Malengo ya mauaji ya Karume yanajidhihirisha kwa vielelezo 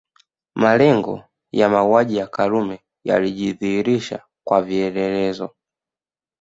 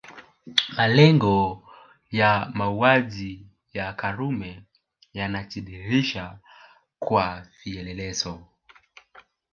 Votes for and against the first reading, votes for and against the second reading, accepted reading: 0, 2, 2, 0, second